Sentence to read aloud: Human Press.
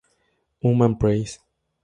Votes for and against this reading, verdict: 2, 0, accepted